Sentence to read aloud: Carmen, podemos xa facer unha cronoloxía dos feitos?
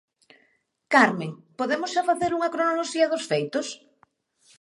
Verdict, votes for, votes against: accepted, 2, 0